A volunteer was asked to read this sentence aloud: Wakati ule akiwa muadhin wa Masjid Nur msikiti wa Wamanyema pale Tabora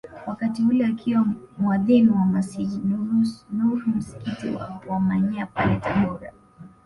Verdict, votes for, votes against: accepted, 2, 0